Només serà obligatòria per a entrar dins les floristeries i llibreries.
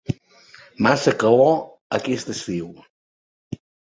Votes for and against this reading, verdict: 0, 3, rejected